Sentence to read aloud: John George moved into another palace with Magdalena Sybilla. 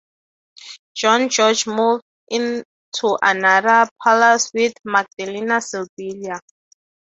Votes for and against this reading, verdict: 6, 0, accepted